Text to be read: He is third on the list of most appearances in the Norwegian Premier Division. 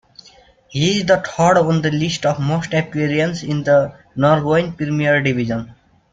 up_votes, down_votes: 2, 1